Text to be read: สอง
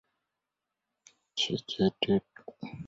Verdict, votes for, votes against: rejected, 0, 2